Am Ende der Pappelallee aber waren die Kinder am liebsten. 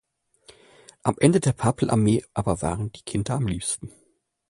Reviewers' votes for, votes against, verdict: 0, 2, rejected